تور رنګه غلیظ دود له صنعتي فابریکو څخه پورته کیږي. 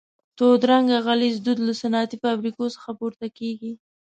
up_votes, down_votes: 2, 0